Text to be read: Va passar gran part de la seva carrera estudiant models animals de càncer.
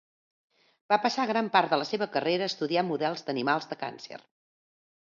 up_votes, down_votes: 1, 2